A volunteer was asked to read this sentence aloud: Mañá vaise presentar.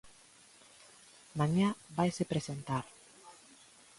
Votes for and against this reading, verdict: 2, 0, accepted